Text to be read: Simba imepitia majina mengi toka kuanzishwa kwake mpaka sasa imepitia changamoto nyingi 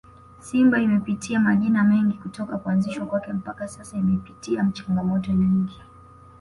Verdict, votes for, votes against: accepted, 2, 0